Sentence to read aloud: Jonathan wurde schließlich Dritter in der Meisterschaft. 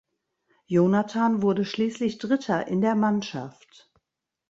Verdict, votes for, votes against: rejected, 0, 2